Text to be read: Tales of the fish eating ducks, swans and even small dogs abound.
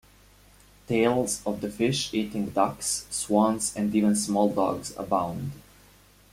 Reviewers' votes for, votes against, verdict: 2, 0, accepted